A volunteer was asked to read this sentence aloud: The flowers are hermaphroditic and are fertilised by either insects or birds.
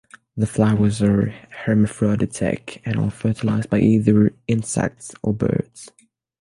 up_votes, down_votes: 3, 0